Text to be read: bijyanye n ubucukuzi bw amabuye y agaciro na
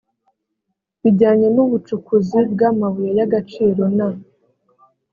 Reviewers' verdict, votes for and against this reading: accepted, 3, 0